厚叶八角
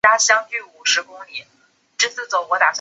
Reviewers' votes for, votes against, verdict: 0, 2, rejected